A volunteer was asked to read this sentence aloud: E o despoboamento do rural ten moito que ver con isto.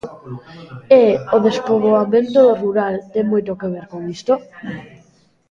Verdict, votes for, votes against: accepted, 2, 0